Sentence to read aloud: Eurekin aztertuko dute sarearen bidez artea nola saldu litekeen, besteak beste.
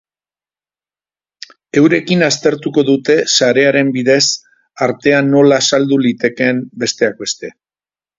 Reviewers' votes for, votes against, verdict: 4, 0, accepted